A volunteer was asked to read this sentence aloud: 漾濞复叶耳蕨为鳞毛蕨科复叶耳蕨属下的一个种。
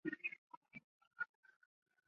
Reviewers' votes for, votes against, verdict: 2, 1, accepted